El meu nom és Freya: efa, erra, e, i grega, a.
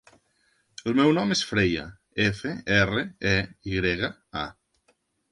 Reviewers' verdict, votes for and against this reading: rejected, 0, 2